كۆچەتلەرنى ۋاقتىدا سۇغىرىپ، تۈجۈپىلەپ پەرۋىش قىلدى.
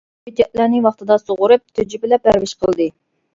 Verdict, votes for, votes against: rejected, 0, 2